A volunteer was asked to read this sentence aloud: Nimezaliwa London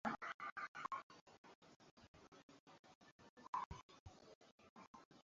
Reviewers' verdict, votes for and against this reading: rejected, 0, 2